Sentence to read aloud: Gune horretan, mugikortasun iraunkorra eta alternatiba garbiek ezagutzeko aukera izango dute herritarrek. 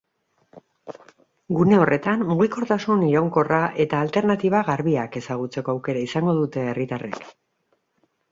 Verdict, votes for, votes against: accepted, 4, 0